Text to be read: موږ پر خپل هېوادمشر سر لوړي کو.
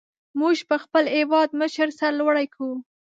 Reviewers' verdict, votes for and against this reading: rejected, 1, 2